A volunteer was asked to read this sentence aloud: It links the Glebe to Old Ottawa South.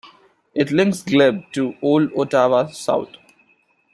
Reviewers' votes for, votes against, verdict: 1, 2, rejected